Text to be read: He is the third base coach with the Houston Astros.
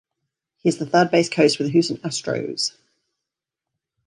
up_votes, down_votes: 2, 0